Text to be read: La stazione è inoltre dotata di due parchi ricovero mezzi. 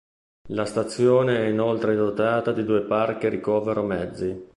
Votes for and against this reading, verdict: 2, 0, accepted